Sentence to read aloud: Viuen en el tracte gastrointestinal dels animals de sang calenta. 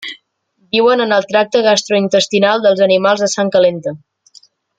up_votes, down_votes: 2, 0